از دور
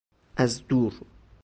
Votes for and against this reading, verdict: 2, 0, accepted